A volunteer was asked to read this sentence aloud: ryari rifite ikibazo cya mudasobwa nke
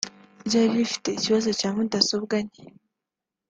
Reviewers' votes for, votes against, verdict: 4, 0, accepted